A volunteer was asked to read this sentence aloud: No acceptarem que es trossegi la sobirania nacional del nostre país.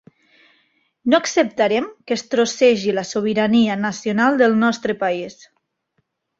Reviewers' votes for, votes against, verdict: 2, 0, accepted